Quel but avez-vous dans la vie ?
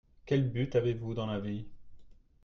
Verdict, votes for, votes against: accepted, 2, 0